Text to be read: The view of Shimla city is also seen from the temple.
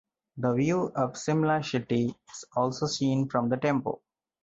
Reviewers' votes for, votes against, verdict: 0, 2, rejected